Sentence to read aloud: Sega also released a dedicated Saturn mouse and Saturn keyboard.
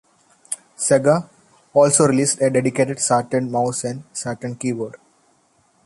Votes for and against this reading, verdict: 1, 2, rejected